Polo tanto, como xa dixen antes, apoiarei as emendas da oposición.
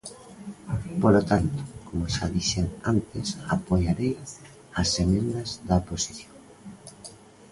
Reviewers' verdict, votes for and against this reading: accepted, 2, 1